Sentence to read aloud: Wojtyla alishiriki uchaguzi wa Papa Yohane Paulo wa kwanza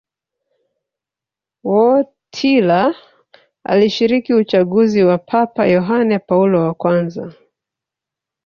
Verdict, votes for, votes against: rejected, 0, 3